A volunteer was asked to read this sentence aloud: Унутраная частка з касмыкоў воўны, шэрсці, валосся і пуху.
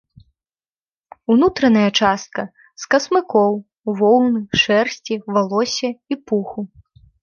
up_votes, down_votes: 2, 0